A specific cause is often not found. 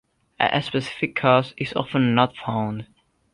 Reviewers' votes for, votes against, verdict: 2, 1, accepted